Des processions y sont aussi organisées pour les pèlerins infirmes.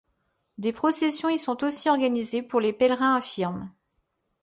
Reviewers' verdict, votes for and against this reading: accepted, 2, 0